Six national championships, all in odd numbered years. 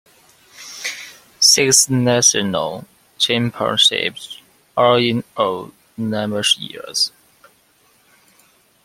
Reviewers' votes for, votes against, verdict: 1, 2, rejected